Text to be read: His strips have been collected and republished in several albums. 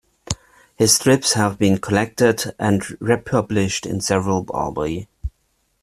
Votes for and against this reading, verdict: 0, 2, rejected